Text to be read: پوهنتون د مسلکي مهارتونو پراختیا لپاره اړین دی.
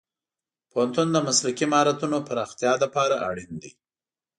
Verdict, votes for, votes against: accepted, 2, 0